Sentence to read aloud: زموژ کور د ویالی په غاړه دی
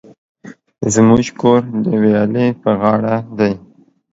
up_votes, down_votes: 2, 3